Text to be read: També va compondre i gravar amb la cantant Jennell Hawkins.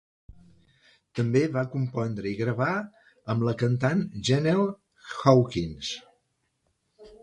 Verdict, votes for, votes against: accepted, 2, 0